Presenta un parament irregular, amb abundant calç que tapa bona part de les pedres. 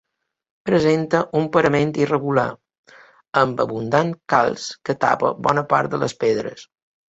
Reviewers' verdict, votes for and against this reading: accepted, 2, 0